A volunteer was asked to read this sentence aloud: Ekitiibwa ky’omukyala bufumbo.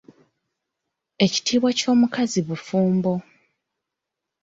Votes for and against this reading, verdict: 2, 0, accepted